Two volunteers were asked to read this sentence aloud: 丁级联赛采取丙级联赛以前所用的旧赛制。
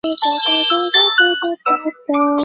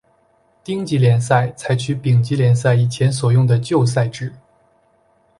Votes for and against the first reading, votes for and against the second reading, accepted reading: 1, 2, 2, 0, second